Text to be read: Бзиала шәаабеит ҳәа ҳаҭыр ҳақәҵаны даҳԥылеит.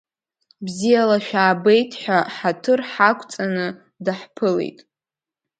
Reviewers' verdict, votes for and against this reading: accepted, 2, 0